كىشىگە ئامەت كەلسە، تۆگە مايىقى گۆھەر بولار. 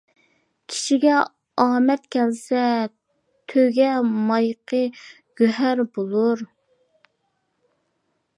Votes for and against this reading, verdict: 2, 0, accepted